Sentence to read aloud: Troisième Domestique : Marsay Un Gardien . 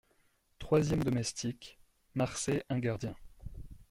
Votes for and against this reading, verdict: 2, 0, accepted